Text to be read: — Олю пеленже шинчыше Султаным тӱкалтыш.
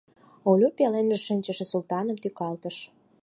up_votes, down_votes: 4, 0